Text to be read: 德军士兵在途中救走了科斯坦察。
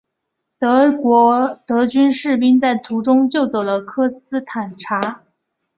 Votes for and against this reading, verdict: 2, 0, accepted